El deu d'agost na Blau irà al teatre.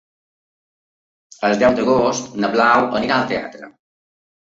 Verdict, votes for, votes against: rejected, 1, 2